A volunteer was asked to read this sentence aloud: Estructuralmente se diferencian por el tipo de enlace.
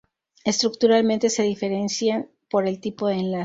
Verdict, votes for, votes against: rejected, 4, 4